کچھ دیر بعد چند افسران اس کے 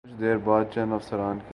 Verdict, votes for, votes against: rejected, 0, 2